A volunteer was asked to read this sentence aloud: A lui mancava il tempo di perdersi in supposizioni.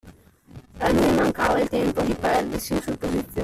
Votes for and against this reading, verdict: 0, 2, rejected